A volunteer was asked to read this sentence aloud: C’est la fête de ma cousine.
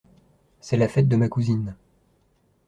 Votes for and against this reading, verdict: 2, 0, accepted